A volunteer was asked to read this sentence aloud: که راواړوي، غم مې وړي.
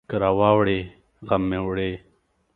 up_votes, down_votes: 7, 0